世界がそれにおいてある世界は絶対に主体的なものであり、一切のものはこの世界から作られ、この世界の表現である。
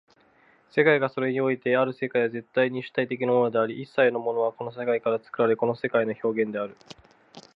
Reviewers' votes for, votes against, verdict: 2, 0, accepted